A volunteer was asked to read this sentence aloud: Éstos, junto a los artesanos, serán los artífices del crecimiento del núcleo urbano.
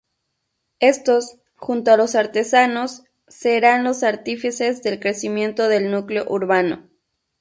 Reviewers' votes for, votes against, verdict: 2, 0, accepted